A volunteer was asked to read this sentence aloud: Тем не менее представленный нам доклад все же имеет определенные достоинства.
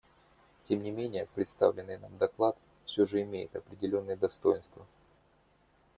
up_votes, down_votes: 2, 1